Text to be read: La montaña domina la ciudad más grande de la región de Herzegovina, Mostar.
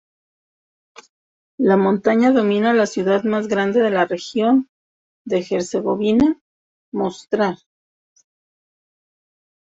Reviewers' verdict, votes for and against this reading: rejected, 0, 2